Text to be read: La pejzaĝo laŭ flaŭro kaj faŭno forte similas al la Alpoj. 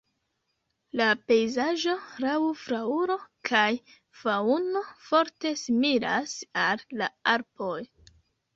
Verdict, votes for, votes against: rejected, 0, 2